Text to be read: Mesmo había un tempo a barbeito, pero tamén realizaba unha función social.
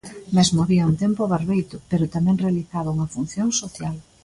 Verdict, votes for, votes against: accepted, 2, 0